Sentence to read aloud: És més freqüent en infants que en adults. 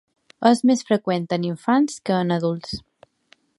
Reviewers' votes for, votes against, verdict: 2, 0, accepted